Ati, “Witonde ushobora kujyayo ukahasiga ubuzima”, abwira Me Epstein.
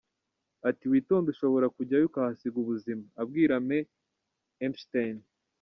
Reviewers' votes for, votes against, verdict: 1, 2, rejected